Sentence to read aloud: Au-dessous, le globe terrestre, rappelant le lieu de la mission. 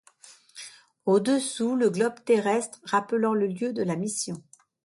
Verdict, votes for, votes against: accepted, 2, 0